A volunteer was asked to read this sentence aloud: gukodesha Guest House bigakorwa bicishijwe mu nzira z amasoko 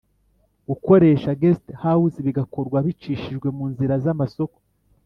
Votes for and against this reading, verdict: 1, 2, rejected